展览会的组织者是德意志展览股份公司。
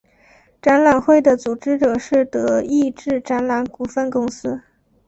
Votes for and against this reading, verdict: 3, 1, accepted